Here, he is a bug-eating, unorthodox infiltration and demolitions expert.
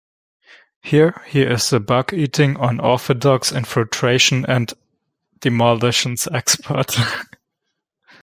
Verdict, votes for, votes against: rejected, 0, 2